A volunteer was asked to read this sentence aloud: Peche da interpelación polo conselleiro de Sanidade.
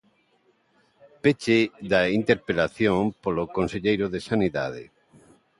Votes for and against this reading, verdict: 1, 2, rejected